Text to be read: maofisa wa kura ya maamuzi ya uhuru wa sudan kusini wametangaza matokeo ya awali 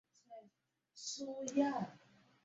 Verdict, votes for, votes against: rejected, 0, 2